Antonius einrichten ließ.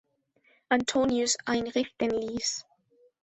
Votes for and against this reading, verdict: 2, 0, accepted